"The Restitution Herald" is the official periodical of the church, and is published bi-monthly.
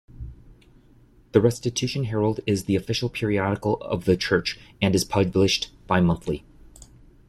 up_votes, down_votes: 1, 3